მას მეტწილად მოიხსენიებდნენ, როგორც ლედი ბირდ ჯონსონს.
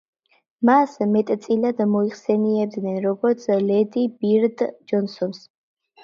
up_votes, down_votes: 0, 2